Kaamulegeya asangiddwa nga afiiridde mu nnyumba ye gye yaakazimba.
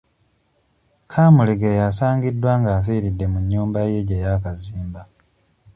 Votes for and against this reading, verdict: 2, 0, accepted